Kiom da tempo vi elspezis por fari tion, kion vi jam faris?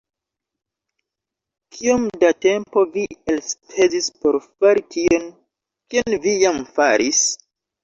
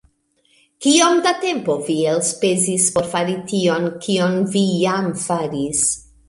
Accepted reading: second